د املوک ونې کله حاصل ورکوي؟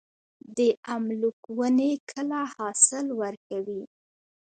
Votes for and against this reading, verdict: 2, 0, accepted